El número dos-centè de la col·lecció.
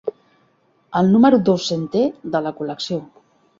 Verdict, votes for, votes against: accepted, 2, 0